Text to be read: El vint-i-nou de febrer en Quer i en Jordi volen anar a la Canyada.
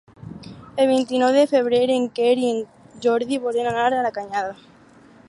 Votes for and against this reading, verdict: 4, 0, accepted